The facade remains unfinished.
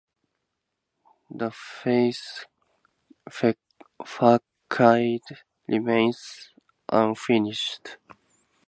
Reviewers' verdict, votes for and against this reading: rejected, 0, 2